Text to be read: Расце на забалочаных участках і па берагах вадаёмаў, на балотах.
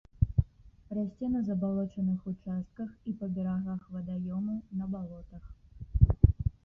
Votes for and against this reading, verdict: 0, 2, rejected